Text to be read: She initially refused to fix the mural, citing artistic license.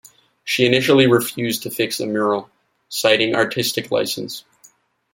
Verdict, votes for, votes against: accepted, 2, 0